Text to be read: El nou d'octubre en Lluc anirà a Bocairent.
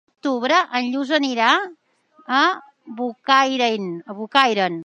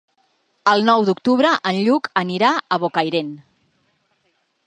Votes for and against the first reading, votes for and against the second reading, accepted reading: 1, 3, 4, 0, second